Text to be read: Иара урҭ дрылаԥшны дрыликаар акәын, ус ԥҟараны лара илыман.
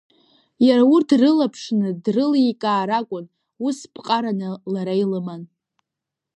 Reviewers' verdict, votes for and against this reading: accepted, 2, 0